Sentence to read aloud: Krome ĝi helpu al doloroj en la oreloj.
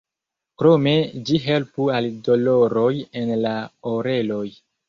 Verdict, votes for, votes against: accepted, 2, 0